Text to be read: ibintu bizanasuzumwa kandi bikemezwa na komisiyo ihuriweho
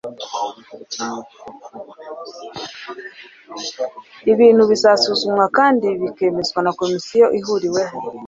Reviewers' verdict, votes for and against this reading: accepted, 2, 1